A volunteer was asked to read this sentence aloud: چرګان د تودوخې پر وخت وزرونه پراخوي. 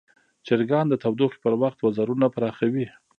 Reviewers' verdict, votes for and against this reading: accepted, 2, 1